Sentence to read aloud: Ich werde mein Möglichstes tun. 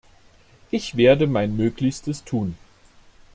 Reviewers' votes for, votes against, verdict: 2, 0, accepted